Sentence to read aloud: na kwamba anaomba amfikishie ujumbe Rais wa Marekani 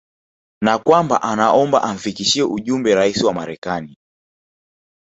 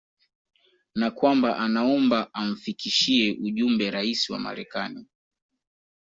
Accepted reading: second